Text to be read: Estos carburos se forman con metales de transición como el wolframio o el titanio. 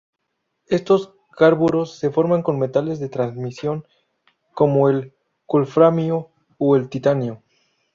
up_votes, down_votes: 0, 2